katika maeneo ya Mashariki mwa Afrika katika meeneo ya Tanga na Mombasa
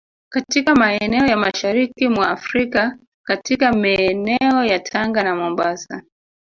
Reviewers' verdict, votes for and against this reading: rejected, 1, 2